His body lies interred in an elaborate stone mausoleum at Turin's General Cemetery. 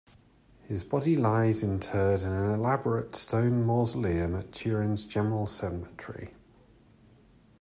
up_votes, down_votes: 2, 0